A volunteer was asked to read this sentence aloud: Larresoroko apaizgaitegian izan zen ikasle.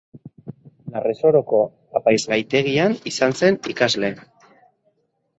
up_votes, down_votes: 2, 0